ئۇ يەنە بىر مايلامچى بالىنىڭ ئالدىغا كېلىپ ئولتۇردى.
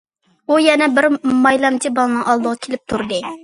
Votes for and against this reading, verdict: 0, 2, rejected